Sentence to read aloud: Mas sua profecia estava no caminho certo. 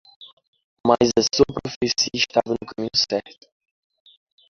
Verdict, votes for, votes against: rejected, 0, 2